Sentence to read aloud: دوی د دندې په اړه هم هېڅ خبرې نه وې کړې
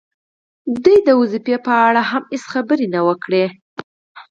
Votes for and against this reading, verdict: 2, 4, rejected